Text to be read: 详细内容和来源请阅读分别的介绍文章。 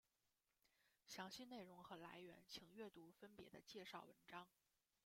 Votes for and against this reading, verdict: 1, 2, rejected